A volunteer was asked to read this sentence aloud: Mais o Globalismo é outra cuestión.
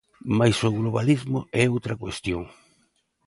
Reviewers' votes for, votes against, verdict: 2, 0, accepted